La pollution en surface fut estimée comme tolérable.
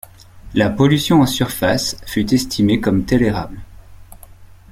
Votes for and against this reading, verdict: 1, 2, rejected